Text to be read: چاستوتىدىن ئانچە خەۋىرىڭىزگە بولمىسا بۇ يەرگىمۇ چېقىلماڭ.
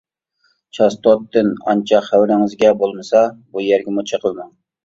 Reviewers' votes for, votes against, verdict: 0, 2, rejected